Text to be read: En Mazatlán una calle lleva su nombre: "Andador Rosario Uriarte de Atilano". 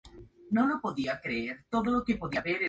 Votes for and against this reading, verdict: 0, 2, rejected